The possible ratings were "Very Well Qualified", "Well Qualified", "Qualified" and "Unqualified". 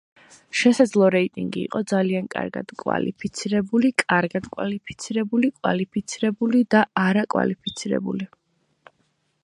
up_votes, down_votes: 0, 2